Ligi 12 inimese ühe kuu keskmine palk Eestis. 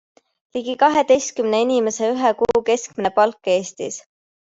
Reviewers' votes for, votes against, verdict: 0, 2, rejected